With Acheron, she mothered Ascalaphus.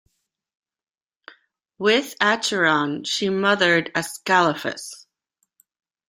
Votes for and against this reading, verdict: 2, 0, accepted